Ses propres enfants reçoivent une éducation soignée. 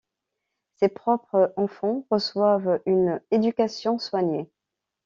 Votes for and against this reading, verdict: 1, 2, rejected